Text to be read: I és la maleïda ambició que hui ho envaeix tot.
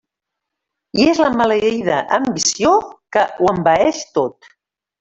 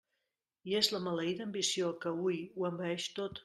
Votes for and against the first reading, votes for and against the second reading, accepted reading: 0, 2, 2, 0, second